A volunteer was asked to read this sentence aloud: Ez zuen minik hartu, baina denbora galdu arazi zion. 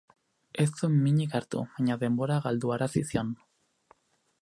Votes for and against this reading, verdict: 4, 0, accepted